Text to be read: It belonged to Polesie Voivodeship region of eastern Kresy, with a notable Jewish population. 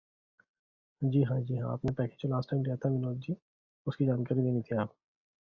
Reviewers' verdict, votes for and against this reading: rejected, 0, 2